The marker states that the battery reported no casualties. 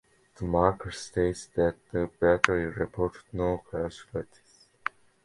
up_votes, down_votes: 2, 0